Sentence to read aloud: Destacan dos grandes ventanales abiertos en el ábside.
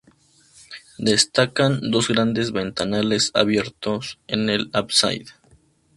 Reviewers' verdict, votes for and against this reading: rejected, 0, 2